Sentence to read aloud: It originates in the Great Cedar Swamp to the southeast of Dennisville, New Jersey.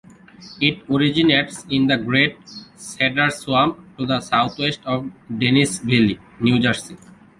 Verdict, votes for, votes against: accepted, 2, 1